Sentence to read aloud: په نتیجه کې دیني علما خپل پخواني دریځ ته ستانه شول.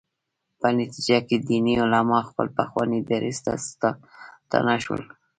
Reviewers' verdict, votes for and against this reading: rejected, 1, 2